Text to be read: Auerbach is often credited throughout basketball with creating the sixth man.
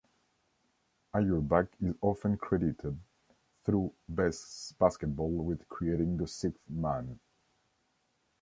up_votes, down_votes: 1, 2